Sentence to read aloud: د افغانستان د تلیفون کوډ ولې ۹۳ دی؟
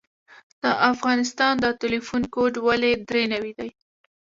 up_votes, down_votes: 0, 2